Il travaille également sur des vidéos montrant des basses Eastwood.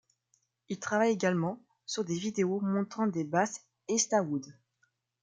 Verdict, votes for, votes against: rejected, 0, 2